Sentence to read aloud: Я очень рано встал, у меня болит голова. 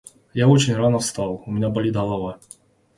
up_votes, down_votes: 1, 2